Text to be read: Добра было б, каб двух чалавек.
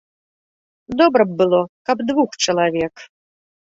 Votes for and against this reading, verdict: 0, 2, rejected